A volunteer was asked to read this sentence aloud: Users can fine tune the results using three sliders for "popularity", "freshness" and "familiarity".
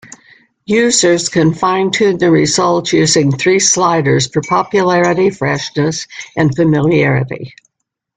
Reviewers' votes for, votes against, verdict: 2, 0, accepted